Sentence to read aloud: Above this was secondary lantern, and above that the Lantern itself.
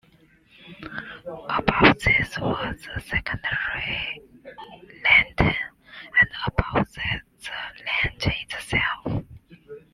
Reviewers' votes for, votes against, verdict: 1, 2, rejected